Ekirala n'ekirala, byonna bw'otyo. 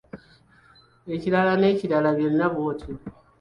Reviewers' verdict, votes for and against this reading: accepted, 2, 0